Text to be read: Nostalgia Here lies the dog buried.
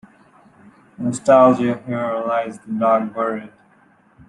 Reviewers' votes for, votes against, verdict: 2, 0, accepted